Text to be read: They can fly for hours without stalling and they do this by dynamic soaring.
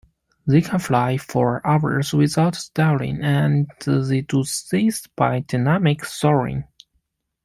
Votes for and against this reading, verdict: 0, 2, rejected